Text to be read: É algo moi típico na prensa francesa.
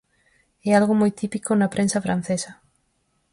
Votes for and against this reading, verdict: 4, 0, accepted